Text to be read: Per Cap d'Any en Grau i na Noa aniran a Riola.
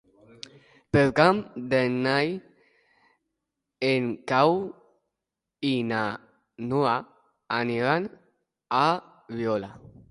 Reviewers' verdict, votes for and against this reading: rejected, 0, 2